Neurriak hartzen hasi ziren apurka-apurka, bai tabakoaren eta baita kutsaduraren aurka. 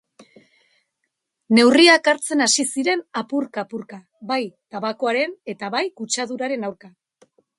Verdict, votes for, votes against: rejected, 1, 4